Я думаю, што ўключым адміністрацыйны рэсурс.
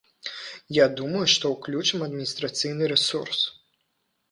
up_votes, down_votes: 2, 0